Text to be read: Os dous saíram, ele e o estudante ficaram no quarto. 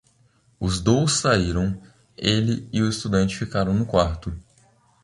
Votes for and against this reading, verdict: 2, 1, accepted